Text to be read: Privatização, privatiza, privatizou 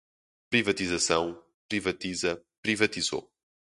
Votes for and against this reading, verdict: 4, 0, accepted